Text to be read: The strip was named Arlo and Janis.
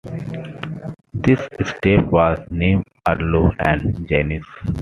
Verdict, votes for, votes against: accepted, 2, 0